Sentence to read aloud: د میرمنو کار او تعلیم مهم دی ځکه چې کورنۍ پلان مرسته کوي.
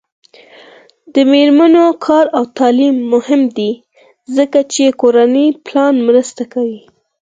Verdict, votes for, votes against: accepted, 4, 0